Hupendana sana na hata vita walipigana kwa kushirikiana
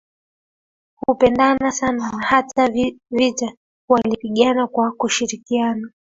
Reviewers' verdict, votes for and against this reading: accepted, 2, 1